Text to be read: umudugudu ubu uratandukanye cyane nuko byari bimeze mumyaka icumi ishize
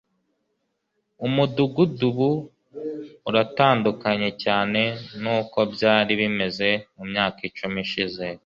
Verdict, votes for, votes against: accepted, 2, 0